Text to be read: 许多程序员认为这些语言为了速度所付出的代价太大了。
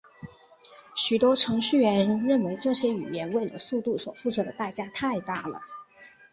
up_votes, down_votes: 2, 0